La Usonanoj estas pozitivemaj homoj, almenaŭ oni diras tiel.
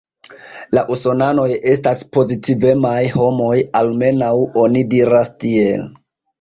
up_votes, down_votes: 2, 0